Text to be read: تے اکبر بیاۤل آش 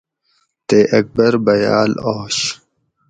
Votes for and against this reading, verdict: 2, 0, accepted